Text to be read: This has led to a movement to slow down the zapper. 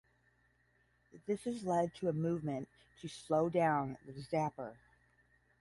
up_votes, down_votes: 10, 0